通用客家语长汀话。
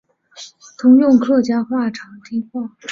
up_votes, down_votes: 4, 1